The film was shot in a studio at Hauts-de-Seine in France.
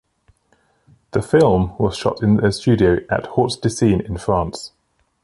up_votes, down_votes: 3, 0